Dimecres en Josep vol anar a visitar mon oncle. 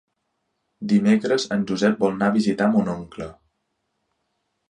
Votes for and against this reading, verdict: 0, 2, rejected